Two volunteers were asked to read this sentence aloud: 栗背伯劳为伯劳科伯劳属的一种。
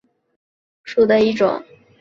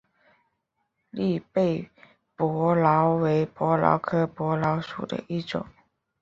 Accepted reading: second